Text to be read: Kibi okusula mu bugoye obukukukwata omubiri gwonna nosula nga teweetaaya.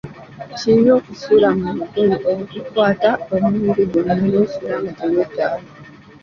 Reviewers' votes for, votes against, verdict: 2, 1, accepted